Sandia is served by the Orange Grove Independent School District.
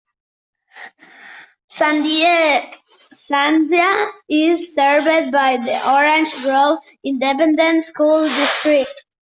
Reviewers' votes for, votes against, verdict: 0, 2, rejected